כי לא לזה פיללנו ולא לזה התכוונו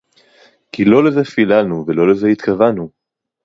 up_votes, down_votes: 0, 4